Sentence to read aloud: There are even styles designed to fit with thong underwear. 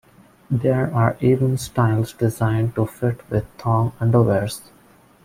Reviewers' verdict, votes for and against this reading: rejected, 1, 2